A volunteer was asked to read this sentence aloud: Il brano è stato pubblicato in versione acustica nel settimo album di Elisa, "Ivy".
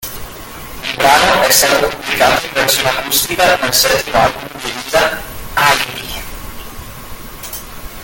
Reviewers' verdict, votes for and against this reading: rejected, 0, 2